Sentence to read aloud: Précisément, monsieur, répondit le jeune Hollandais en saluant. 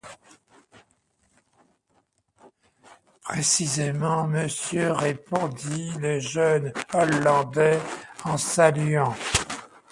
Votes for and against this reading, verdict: 2, 0, accepted